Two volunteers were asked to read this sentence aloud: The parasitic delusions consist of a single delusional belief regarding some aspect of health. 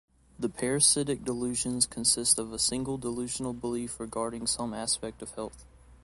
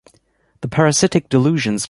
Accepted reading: first